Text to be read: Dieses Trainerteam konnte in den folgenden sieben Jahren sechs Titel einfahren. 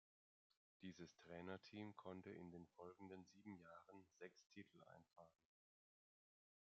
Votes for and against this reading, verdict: 2, 0, accepted